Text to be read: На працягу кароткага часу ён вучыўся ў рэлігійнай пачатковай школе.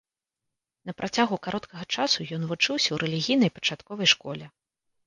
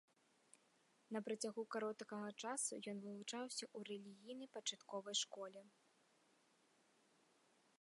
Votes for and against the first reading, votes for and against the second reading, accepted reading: 2, 0, 1, 2, first